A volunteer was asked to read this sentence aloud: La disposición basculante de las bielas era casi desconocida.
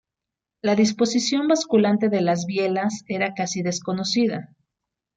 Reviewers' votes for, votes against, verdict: 2, 0, accepted